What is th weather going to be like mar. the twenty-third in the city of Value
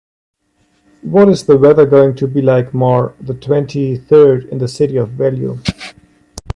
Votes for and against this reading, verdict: 1, 2, rejected